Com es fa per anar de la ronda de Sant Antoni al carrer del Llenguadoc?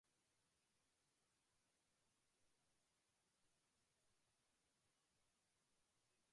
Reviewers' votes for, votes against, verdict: 1, 2, rejected